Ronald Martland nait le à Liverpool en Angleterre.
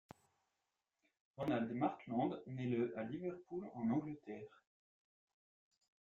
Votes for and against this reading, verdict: 0, 2, rejected